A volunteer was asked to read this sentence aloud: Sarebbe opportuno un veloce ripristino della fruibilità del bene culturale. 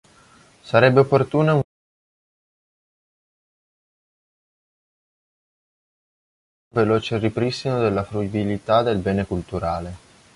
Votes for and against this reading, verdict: 0, 2, rejected